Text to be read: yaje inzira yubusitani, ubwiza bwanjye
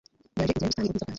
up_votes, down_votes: 1, 2